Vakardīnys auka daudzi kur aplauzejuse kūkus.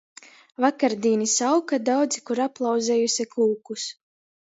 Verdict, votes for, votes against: accepted, 2, 0